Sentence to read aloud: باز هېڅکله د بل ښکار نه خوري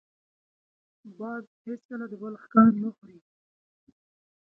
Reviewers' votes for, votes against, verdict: 3, 1, accepted